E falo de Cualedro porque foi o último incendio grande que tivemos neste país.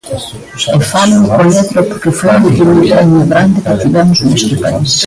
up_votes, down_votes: 0, 2